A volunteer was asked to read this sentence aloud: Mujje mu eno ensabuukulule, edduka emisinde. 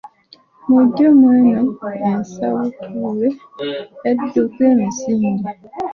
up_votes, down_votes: 1, 2